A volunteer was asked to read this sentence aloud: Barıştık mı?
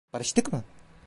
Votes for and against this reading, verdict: 2, 0, accepted